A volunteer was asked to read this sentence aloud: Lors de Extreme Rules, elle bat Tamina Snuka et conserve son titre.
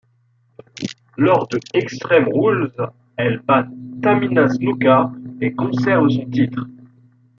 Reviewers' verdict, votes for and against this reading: accepted, 2, 1